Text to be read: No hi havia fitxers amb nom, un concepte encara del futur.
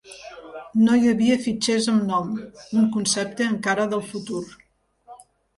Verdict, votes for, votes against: rejected, 1, 2